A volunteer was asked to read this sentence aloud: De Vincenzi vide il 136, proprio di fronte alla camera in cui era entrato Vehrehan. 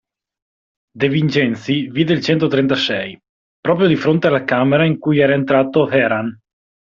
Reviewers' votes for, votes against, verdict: 0, 2, rejected